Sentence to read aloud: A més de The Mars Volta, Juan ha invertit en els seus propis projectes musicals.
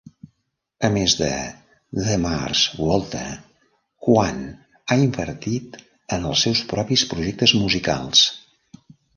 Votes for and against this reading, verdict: 0, 2, rejected